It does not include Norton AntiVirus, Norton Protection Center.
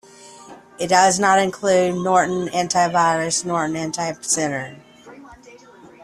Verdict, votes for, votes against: rejected, 0, 2